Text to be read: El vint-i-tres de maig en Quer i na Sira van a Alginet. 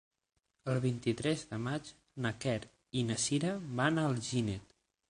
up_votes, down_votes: 6, 9